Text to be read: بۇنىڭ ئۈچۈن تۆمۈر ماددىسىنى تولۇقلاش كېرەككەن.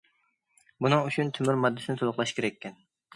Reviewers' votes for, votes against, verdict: 2, 0, accepted